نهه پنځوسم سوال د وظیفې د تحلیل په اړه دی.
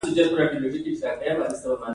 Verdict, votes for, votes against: accepted, 2, 0